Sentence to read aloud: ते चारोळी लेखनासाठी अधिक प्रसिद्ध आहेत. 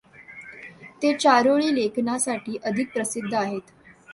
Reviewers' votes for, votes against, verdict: 2, 0, accepted